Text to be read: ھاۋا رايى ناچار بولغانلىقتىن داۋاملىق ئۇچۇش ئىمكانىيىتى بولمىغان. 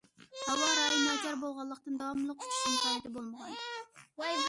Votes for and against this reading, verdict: 0, 2, rejected